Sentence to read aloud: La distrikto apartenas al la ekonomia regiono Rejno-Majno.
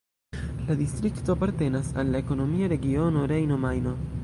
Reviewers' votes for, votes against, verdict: 1, 2, rejected